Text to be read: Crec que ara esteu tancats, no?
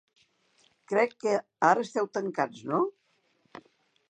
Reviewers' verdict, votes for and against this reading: accepted, 2, 0